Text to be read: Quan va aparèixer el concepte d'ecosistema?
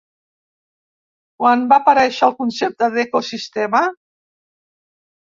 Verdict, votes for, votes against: accepted, 2, 0